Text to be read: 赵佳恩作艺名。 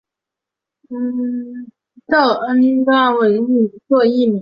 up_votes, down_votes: 2, 3